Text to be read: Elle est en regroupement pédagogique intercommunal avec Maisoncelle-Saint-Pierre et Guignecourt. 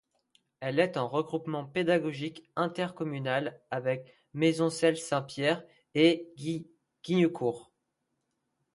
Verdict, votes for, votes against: rejected, 0, 2